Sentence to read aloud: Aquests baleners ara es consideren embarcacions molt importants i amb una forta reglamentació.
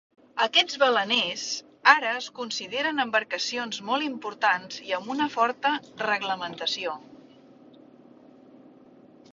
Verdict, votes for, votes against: accepted, 2, 0